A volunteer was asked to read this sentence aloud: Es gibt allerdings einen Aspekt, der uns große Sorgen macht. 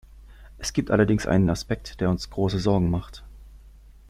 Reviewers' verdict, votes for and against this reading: rejected, 0, 2